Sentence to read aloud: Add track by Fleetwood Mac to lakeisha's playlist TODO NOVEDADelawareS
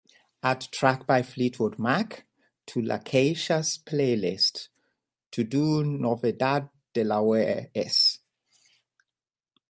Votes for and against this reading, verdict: 2, 0, accepted